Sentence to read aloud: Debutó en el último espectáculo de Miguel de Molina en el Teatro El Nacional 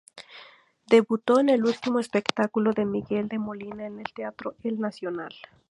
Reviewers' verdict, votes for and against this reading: accepted, 2, 0